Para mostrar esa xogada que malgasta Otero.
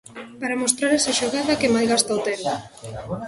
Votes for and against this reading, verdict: 0, 2, rejected